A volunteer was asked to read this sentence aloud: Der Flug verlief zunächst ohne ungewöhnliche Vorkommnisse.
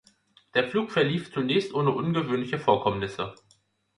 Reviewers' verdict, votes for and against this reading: accepted, 2, 0